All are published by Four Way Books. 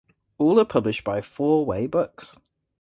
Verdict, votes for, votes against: accepted, 2, 0